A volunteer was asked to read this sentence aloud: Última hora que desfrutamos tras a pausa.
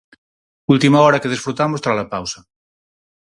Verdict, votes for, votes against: accepted, 4, 0